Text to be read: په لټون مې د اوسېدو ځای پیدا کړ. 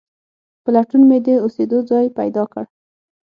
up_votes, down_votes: 6, 0